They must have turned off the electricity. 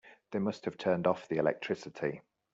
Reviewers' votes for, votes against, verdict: 2, 0, accepted